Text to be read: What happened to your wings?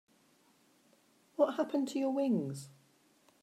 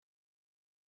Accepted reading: first